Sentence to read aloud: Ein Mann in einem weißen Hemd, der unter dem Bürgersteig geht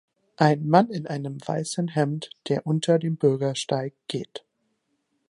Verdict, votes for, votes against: accepted, 2, 0